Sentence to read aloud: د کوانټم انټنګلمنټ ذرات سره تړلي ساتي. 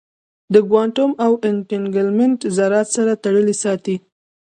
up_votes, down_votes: 2, 0